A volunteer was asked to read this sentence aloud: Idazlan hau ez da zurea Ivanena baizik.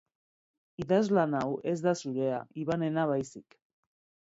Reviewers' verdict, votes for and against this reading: accepted, 4, 0